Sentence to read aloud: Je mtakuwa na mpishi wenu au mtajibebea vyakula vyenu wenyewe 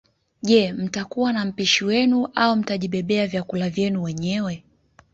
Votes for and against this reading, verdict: 2, 1, accepted